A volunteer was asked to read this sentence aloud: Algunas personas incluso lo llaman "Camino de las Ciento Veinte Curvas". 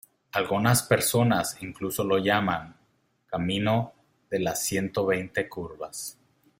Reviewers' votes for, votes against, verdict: 2, 0, accepted